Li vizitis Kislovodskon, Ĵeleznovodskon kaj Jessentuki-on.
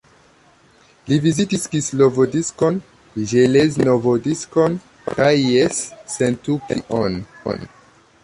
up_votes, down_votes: 1, 2